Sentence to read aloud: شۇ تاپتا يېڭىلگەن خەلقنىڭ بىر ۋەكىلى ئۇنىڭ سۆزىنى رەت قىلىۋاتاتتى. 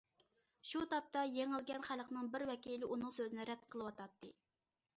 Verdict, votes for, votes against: accepted, 2, 0